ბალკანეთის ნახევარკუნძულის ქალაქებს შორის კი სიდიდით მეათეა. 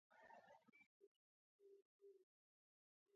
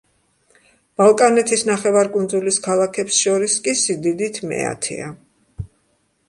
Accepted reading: second